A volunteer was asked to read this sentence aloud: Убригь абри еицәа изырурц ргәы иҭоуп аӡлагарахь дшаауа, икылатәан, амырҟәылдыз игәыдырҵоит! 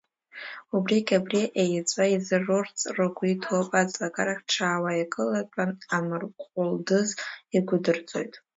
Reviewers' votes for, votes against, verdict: 1, 2, rejected